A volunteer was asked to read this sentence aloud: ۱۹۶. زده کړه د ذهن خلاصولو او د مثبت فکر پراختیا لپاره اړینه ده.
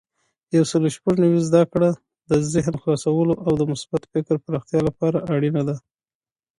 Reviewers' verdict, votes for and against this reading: rejected, 0, 2